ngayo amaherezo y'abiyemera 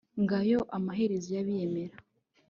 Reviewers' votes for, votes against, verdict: 2, 0, accepted